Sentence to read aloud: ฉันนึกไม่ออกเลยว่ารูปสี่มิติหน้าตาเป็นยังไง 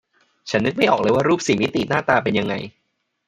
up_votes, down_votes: 1, 2